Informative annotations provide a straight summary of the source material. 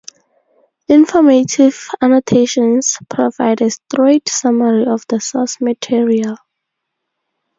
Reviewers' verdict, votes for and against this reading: rejected, 2, 2